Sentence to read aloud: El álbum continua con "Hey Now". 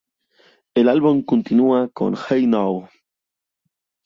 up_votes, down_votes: 2, 0